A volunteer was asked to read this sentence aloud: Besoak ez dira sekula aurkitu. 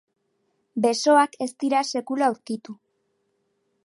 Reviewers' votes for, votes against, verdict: 6, 0, accepted